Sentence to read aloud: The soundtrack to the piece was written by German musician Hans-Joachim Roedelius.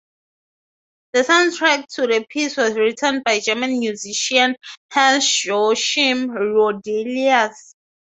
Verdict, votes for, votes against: rejected, 0, 3